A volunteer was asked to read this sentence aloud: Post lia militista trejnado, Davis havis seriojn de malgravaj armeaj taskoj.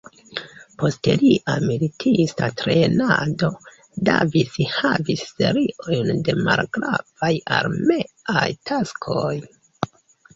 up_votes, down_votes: 0, 2